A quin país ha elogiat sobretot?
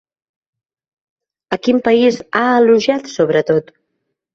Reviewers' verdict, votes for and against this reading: accepted, 3, 1